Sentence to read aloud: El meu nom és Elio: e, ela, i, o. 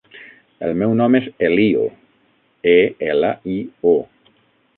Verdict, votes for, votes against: rejected, 0, 6